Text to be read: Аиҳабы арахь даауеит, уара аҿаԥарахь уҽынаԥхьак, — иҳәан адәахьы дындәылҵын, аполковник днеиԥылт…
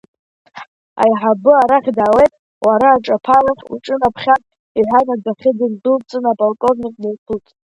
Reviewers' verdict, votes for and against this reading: rejected, 1, 2